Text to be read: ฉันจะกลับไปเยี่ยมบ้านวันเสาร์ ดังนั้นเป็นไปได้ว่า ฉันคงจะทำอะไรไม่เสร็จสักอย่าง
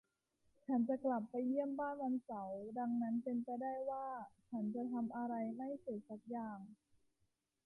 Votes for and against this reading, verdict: 0, 2, rejected